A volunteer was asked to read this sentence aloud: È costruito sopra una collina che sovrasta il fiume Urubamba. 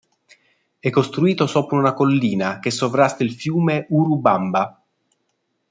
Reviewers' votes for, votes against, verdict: 2, 0, accepted